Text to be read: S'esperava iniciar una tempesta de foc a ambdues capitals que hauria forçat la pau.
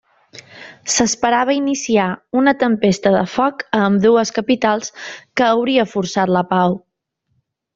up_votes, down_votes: 2, 0